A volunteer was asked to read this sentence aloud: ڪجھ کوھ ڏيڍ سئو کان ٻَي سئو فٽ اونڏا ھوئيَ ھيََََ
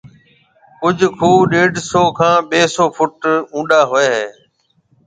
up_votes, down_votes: 2, 0